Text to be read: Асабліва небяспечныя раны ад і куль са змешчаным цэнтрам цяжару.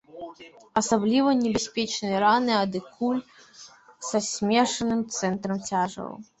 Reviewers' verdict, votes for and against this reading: accepted, 2, 0